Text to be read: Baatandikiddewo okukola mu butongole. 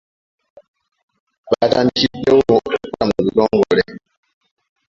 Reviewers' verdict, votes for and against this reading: rejected, 1, 2